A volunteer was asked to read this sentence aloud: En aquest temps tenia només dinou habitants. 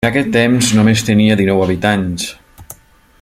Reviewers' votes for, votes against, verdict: 1, 2, rejected